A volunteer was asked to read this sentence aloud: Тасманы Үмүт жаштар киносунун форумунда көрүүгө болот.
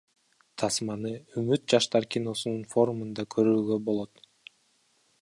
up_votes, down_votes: 0, 2